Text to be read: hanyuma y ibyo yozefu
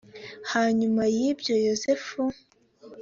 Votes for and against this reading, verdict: 2, 0, accepted